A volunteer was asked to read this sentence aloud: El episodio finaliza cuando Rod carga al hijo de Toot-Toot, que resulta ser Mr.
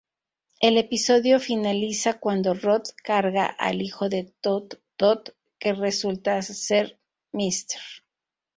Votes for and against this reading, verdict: 0, 2, rejected